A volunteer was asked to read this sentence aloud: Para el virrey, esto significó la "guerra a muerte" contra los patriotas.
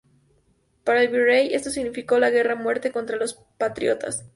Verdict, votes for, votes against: accepted, 4, 0